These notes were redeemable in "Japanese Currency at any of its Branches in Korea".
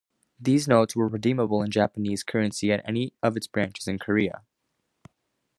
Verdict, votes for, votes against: accepted, 2, 0